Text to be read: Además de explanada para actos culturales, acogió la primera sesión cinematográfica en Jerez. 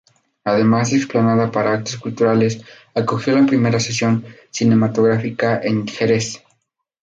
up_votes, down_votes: 2, 0